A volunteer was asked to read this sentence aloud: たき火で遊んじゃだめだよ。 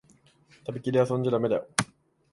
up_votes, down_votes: 2, 3